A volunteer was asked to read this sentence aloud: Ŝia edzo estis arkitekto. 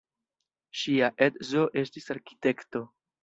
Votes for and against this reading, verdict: 1, 2, rejected